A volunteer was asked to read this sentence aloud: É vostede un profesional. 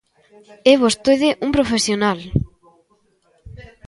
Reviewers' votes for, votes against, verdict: 0, 2, rejected